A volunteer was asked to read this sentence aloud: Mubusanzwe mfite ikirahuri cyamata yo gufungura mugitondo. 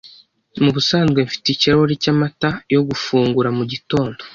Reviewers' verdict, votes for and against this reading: accepted, 2, 0